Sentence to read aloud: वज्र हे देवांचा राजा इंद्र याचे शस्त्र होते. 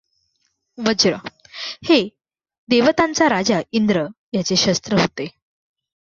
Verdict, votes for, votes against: rejected, 0, 2